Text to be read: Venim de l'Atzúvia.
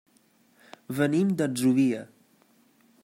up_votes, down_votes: 0, 2